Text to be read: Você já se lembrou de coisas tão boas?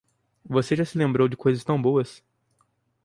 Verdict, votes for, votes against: accepted, 4, 0